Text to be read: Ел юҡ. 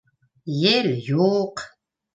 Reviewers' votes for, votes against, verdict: 2, 0, accepted